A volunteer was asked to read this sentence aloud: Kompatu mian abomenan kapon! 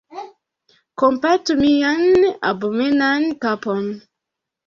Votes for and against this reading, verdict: 1, 2, rejected